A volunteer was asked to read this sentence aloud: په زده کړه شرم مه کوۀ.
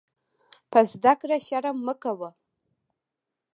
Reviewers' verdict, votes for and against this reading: rejected, 1, 2